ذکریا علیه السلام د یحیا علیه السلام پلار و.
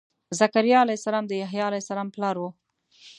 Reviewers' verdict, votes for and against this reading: accepted, 2, 0